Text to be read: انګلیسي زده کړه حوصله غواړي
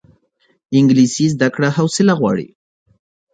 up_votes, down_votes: 2, 0